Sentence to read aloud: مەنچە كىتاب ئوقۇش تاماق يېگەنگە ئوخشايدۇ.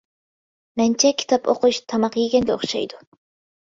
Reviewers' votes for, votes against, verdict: 2, 0, accepted